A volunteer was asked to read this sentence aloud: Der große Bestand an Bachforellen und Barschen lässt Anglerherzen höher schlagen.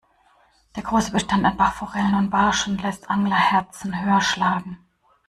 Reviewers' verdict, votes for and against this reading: accepted, 3, 0